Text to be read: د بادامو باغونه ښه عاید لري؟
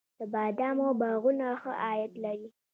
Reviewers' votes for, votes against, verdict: 3, 0, accepted